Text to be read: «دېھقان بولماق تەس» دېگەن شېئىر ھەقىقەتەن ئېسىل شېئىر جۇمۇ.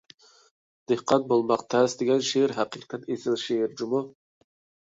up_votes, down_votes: 1, 2